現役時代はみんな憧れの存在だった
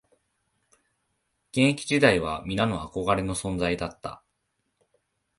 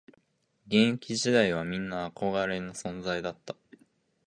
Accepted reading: second